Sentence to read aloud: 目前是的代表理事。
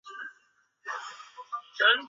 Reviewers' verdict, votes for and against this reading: rejected, 0, 2